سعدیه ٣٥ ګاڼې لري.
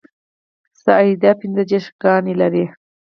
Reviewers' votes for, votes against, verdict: 0, 2, rejected